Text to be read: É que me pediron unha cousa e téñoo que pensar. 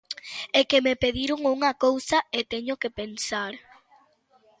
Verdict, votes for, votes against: rejected, 1, 2